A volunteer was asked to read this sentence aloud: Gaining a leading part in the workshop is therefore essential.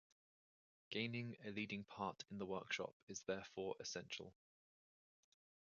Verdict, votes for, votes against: accepted, 2, 1